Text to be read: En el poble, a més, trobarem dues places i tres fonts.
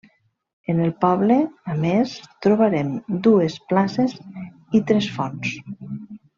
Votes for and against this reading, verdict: 2, 0, accepted